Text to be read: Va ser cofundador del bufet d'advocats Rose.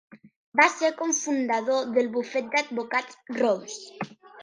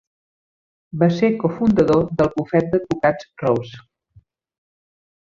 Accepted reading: second